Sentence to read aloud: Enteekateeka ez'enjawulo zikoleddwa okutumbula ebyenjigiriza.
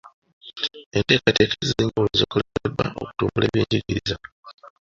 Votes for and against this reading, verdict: 1, 2, rejected